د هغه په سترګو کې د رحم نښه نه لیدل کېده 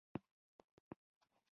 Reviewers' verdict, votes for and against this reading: rejected, 0, 2